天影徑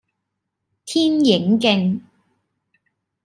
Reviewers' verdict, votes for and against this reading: accepted, 2, 0